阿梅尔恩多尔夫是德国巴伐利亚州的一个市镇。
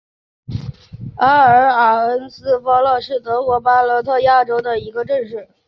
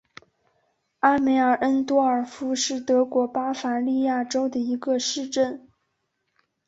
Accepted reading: second